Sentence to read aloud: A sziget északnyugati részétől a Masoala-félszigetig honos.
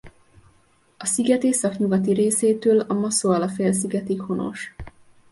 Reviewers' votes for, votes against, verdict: 2, 0, accepted